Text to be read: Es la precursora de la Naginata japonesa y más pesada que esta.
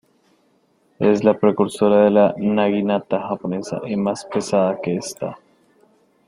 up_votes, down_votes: 0, 2